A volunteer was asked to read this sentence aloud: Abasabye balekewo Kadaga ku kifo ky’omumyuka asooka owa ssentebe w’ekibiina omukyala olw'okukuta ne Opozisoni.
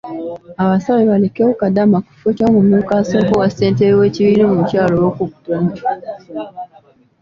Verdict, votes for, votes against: accepted, 2, 1